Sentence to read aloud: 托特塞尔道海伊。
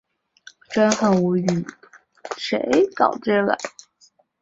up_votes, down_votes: 2, 7